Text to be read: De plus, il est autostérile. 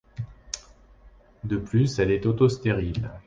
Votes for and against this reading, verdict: 0, 2, rejected